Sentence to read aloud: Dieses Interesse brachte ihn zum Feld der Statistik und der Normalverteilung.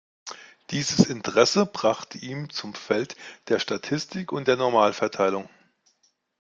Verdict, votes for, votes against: accepted, 2, 0